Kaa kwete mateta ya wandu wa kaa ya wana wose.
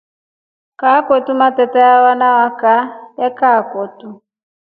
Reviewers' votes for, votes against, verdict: 2, 4, rejected